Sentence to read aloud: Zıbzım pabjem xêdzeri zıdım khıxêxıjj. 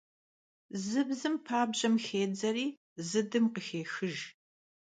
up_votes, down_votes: 2, 0